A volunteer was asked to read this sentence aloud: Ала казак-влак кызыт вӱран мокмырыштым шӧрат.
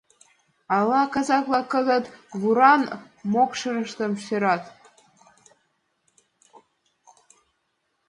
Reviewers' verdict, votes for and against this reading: rejected, 0, 2